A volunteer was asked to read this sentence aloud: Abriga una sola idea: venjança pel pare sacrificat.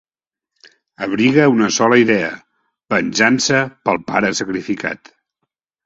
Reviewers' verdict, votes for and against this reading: accepted, 2, 0